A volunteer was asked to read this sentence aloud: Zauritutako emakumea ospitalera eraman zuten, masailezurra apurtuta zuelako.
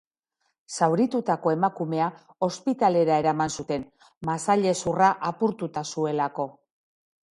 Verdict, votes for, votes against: accepted, 2, 0